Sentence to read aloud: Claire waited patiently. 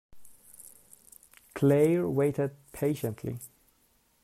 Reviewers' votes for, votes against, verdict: 2, 1, accepted